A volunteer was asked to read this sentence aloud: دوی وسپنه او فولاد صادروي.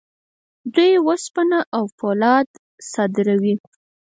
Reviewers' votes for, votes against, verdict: 2, 4, rejected